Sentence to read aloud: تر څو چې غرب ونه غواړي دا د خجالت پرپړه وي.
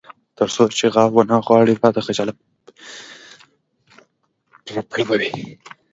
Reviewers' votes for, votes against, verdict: 1, 2, rejected